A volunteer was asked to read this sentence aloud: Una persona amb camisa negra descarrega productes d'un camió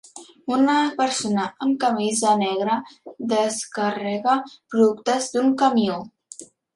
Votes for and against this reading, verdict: 2, 0, accepted